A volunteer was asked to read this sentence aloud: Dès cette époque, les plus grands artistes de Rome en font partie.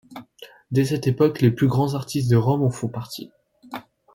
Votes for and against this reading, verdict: 2, 0, accepted